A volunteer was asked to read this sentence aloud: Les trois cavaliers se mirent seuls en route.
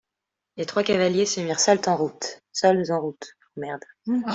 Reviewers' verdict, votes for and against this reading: rejected, 0, 2